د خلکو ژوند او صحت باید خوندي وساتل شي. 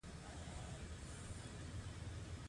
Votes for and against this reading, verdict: 0, 2, rejected